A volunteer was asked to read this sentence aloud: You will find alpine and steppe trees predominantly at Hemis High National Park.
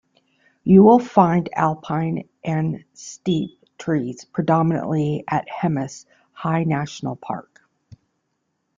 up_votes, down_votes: 1, 2